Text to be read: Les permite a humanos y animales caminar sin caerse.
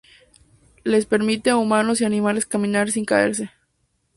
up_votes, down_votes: 2, 0